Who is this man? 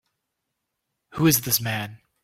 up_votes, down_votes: 3, 0